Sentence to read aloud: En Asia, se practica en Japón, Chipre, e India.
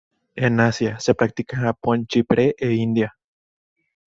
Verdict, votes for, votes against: accepted, 2, 0